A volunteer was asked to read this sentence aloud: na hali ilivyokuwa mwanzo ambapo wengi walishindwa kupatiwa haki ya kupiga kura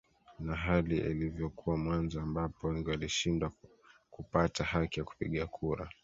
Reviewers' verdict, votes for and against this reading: rejected, 1, 2